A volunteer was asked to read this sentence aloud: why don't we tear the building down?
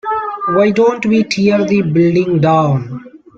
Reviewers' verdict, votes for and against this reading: rejected, 0, 2